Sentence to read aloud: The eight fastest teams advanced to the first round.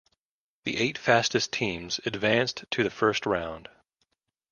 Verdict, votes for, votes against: accepted, 2, 0